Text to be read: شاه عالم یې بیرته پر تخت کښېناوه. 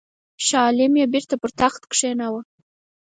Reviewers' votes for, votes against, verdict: 4, 0, accepted